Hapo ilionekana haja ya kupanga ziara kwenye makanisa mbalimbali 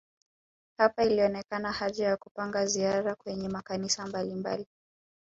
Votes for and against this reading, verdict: 4, 0, accepted